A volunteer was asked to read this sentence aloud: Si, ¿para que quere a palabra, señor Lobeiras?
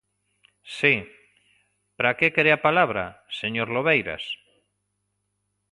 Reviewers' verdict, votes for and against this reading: accepted, 2, 0